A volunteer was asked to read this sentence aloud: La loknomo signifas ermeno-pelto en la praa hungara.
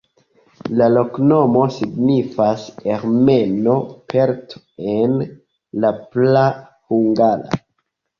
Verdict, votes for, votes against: accepted, 2, 1